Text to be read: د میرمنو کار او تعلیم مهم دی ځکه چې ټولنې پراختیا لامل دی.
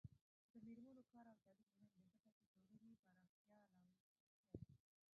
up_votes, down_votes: 0, 2